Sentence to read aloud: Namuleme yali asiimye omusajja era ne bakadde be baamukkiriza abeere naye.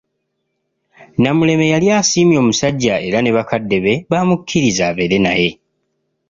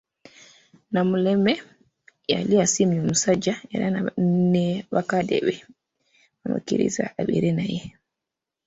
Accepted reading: first